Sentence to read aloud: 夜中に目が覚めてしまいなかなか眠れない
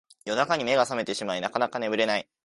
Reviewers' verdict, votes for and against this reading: accepted, 2, 0